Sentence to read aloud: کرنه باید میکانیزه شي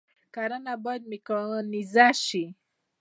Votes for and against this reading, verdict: 2, 0, accepted